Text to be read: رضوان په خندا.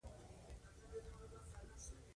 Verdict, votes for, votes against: accepted, 3, 2